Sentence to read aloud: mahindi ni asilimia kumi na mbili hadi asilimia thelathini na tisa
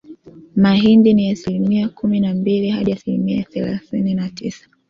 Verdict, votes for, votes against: accepted, 2, 1